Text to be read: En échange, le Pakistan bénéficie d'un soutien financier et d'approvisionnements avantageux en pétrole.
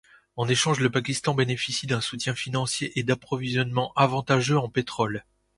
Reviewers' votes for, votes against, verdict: 2, 0, accepted